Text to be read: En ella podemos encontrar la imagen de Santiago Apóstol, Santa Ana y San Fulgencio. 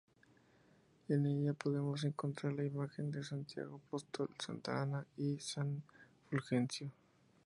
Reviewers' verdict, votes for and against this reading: rejected, 0, 2